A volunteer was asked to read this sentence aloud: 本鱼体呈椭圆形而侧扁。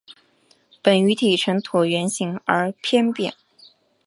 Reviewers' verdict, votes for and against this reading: accepted, 2, 1